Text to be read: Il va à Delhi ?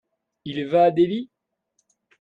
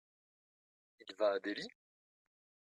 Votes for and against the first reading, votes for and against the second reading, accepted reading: 2, 1, 1, 2, first